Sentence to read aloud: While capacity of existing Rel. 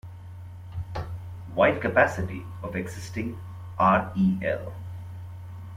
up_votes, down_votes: 0, 2